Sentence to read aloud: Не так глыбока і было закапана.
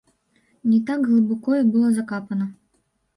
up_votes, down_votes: 0, 3